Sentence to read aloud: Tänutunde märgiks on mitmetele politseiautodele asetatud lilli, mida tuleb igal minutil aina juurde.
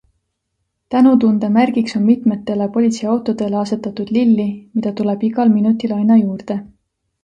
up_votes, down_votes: 2, 0